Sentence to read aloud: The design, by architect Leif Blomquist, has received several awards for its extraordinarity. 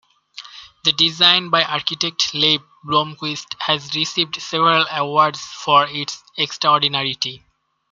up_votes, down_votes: 2, 0